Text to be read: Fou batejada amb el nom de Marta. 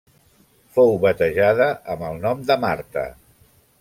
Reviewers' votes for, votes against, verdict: 3, 0, accepted